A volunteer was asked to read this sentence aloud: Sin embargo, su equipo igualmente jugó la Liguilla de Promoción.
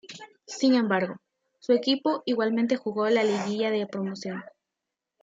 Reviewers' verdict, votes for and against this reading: accepted, 2, 0